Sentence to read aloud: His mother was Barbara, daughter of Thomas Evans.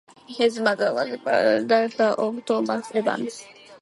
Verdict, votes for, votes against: rejected, 0, 2